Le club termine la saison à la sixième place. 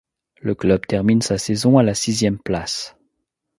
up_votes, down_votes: 1, 2